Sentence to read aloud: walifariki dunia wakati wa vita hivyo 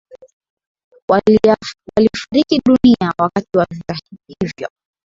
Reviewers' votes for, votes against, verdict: 3, 3, rejected